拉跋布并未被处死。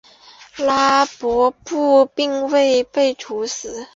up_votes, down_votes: 1, 2